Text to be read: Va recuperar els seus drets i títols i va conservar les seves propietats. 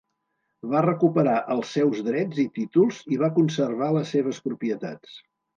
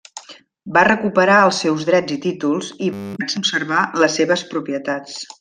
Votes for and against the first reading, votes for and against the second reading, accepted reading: 2, 0, 1, 2, first